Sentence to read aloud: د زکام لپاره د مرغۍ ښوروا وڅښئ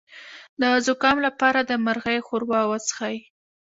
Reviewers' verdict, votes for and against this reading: rejected, 1, 2